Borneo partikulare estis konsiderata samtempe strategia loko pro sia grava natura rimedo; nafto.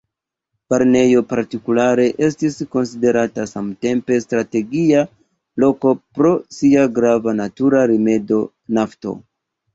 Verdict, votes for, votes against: rejected, 1, 2